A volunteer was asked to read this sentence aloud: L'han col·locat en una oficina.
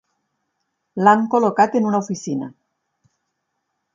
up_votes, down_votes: 6, 2